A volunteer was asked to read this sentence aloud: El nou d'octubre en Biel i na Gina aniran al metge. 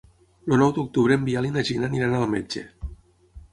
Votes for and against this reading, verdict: 3, 6, rejected